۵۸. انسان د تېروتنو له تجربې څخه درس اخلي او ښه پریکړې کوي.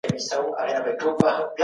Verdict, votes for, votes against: rejected, 0, 2